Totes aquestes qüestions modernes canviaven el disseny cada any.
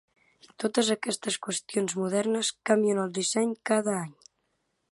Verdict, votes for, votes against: rejected, 0, 2